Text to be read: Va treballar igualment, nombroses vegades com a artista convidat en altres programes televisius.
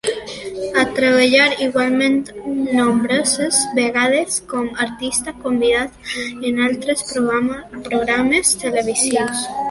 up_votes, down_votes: 0, 2